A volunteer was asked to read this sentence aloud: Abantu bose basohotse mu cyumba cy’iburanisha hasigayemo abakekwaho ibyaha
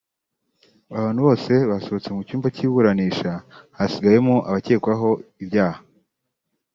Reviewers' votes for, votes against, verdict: 2, 0, accepted